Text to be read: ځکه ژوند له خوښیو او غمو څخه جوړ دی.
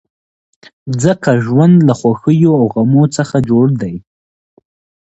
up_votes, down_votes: 2, 0